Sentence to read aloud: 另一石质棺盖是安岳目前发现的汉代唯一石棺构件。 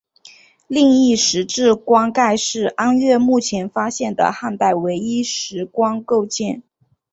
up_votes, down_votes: 2, 0